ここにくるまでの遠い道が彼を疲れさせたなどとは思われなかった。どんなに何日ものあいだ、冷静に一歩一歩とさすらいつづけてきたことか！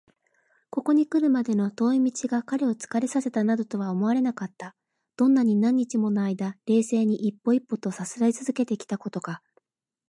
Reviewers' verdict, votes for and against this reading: accepted, 2, 0